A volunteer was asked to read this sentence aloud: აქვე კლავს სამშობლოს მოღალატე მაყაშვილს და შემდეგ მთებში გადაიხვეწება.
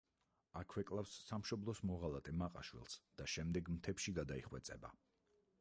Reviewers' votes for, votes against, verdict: 4, 0, accepted